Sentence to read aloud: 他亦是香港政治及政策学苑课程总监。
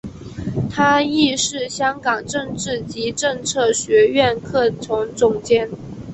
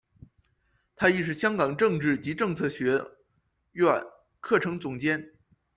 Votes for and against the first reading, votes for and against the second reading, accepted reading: 1, 2, 2, 1, second